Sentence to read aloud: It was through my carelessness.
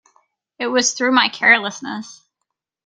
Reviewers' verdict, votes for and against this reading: accepted, 2, 1